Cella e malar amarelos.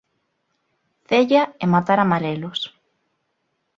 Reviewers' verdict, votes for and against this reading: rejected, 0, 2